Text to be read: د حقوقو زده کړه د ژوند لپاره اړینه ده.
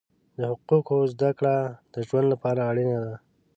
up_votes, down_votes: 2, 0